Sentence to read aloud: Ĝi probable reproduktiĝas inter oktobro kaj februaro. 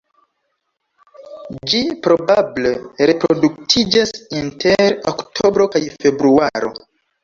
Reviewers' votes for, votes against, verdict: 2, 1, accepted